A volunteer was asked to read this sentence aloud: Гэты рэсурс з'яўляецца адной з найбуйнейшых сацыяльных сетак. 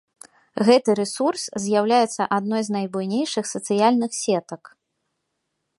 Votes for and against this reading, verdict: 2, 0, accepted